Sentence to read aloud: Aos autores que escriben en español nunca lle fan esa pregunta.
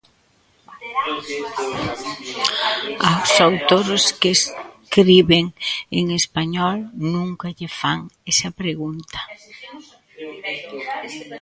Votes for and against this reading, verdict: 0, 2, rejected